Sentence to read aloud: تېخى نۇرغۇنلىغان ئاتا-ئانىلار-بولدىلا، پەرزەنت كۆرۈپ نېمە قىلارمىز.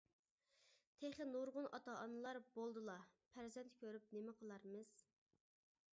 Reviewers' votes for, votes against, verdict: 1, 2, rejected